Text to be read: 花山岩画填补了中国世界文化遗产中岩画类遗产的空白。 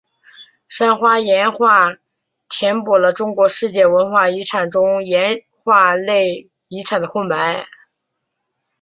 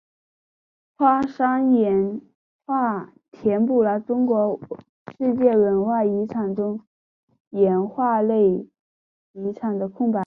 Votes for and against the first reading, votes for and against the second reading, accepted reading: 2, 4, 2, 0, second